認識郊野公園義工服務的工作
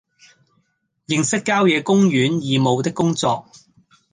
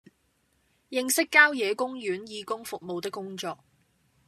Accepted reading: second